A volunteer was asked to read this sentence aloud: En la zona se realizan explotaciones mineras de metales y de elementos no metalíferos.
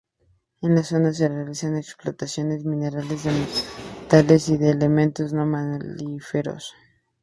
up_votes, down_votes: 0, 4